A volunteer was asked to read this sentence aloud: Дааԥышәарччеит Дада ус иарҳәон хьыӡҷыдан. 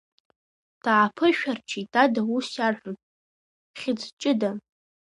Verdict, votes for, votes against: rejected, 2, 3